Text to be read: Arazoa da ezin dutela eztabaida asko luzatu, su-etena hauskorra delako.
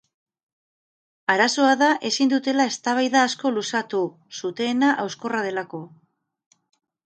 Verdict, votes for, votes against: rejected, 2, 2